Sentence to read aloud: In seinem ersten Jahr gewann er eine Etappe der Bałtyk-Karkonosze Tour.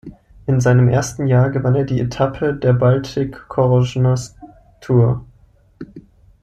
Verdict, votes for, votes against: rejected, 0, 2